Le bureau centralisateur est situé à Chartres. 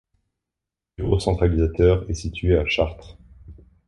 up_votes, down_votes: 1, 2